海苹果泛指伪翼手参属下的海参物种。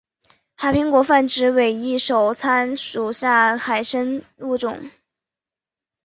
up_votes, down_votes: 0, 3